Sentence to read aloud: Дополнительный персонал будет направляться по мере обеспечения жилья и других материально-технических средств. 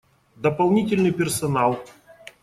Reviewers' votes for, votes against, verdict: 1, 2, rejected